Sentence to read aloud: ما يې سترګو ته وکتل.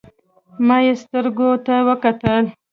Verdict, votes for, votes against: rejected, 1, 2